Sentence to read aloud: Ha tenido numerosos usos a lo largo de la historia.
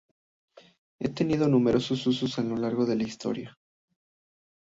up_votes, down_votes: 2, 0